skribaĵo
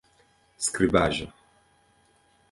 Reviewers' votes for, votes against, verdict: 2, 1, accepted